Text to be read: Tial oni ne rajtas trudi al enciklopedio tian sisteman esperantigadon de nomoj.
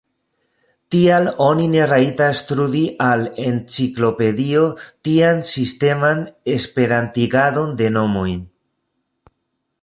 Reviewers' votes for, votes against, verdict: 2, 0, accepted